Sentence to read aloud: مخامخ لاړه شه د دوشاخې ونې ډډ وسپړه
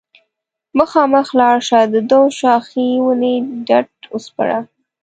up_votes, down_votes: 0, 2